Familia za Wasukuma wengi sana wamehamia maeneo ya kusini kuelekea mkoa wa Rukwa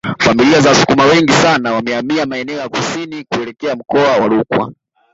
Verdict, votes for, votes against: rejected, 0, 2